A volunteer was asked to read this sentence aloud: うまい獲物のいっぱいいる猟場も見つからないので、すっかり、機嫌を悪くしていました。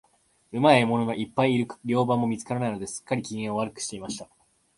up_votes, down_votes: 0, 2